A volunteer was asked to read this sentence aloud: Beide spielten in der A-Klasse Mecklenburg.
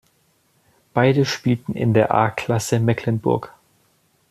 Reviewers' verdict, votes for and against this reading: accepted, 2, 0